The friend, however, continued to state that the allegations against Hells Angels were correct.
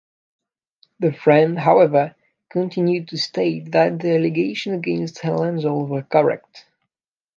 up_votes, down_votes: 1, 2